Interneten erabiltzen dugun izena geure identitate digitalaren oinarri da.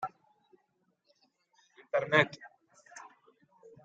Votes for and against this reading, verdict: 0, 2, rejected